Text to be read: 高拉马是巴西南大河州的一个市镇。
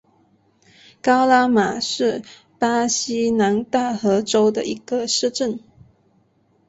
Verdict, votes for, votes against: accepted, 2, 1